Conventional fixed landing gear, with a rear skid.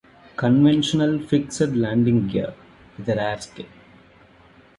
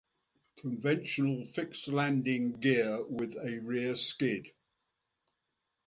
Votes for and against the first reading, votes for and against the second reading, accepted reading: 0, 2, 2, 0, second